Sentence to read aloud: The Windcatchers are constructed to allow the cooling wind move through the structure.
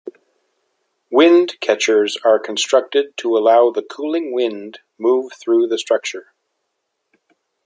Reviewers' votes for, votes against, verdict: 1, 2, rejected